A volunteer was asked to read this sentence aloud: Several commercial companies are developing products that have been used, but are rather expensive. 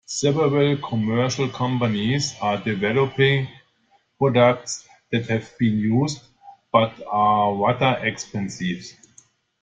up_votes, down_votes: 1, 2